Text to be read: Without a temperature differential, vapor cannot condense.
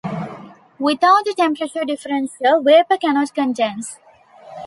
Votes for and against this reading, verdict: 0, 2, rejected